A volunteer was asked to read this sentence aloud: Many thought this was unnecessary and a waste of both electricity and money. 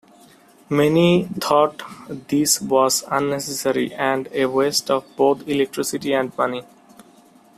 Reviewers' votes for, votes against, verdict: 2, 0, accepted